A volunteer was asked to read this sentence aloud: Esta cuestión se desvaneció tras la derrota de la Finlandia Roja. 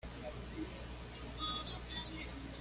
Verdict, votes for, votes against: rejected, 1, 2